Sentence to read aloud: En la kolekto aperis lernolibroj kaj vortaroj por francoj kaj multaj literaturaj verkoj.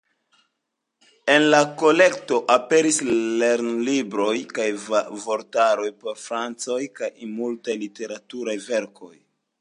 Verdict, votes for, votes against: rejected, 1, 2